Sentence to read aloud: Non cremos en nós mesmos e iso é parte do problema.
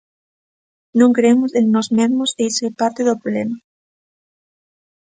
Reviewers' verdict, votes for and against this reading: rejected, 1, 2